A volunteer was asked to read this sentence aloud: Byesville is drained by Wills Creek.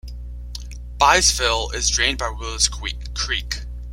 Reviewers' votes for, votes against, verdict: 1, 2, rejected